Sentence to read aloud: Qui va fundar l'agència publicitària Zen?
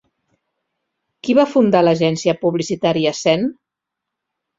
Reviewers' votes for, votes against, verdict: 3, 0, accepted